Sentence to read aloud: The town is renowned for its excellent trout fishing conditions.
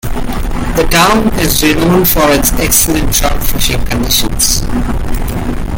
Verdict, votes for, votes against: rejected, 0, 2